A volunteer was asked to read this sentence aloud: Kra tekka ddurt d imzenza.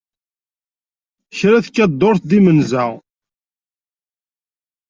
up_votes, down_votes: 0, 2